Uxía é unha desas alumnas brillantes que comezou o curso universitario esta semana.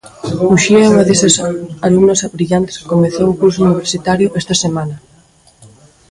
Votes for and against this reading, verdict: 0, 2, rejected